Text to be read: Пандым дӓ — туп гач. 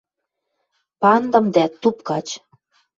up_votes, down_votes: 2, 0